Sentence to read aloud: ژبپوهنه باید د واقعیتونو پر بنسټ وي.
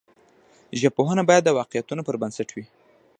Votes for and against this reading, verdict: 1, 2, rejected